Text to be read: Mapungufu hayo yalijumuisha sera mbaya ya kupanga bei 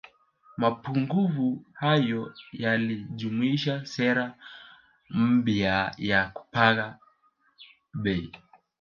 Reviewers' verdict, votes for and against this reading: rejected, 0, 2